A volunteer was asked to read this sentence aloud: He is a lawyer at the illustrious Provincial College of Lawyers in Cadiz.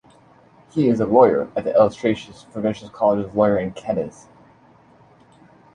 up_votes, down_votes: 0, 2